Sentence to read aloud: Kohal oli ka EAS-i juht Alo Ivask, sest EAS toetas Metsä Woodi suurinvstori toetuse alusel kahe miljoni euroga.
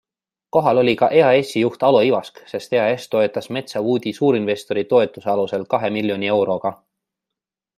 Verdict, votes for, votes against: accepted, 2, 0